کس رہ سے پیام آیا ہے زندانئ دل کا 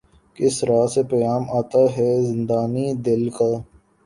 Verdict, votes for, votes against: accepted, 4, 0